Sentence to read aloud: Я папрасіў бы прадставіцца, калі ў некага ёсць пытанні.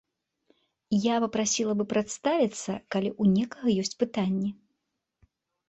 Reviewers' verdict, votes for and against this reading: rejected, 1, 2